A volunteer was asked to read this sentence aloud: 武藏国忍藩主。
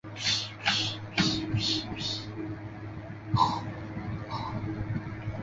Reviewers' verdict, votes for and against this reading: rejected, 0, 5